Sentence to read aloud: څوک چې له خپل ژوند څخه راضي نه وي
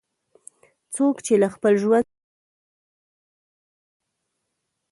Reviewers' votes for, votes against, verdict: 1, 2, rejected